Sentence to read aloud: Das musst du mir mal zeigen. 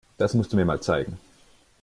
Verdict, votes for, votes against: accepted, 2, 0